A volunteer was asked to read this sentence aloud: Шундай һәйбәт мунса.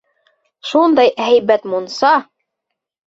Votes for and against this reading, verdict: 2, 0, accepted